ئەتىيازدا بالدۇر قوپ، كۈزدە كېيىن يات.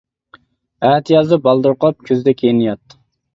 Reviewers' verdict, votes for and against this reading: accepted, 2, 1